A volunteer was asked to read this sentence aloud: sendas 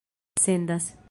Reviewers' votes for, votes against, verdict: 2, 0, accepted